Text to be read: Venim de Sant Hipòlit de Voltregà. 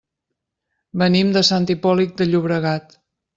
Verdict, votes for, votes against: rejected, 0, 2